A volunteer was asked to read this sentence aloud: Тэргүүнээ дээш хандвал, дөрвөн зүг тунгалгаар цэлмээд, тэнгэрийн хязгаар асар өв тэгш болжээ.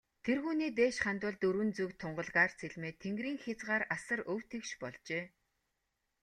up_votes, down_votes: 2, 0